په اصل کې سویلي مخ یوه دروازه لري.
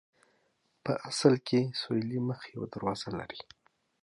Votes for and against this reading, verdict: 9, 0, accepted